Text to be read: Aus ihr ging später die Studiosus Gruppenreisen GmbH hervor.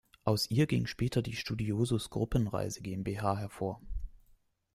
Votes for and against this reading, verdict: 0, 2, rejected